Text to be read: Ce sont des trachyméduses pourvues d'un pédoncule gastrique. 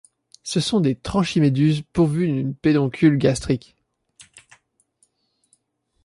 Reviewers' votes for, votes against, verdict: 0, 2, rejected